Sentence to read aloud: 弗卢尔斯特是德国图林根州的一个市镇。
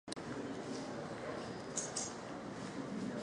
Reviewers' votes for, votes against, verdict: 0, 2, rejected